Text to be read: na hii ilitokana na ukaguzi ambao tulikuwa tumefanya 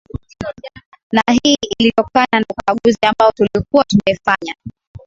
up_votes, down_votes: 5, 11